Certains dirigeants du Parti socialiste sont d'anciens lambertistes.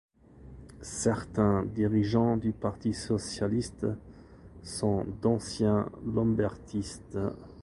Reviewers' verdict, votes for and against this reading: accepted, 2, 0